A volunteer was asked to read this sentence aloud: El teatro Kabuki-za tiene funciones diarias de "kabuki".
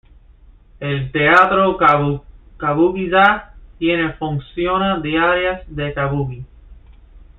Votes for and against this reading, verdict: 1, 2, rejected